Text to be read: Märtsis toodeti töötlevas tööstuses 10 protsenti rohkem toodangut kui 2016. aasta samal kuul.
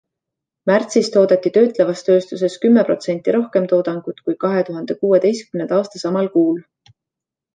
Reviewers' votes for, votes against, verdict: 0, 2, rejected